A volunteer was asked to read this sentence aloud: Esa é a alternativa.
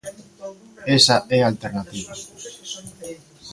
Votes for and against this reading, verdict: 2, 0, accepted